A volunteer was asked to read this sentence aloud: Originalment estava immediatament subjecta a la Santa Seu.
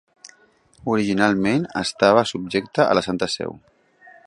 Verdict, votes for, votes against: rejected, 0, 2